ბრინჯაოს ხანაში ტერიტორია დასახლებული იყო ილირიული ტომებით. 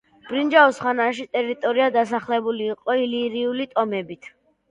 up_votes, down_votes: 1, 2